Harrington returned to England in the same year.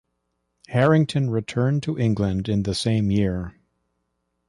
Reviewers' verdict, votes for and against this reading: accepted, 2, 0